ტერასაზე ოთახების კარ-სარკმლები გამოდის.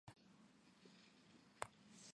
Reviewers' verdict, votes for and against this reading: rejected, 0, 2